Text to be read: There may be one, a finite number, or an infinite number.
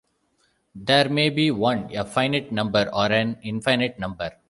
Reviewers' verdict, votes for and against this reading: accepted, 2, 0